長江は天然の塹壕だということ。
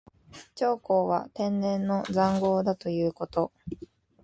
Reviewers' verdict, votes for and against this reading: accepted, 2, 0